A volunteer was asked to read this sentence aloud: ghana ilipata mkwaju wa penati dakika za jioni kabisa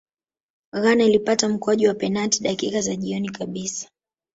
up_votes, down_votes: 0, 2